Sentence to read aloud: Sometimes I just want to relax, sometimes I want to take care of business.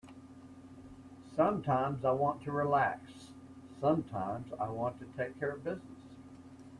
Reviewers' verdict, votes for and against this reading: rejected, 1, 2